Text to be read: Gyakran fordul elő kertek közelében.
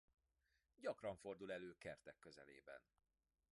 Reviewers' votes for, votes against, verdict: 1, 2, rejected